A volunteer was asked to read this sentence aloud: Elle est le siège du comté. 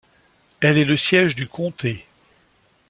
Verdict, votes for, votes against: accepted, 2, 0